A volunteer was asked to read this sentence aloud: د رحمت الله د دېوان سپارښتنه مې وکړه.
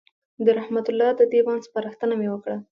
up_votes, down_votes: 2, 0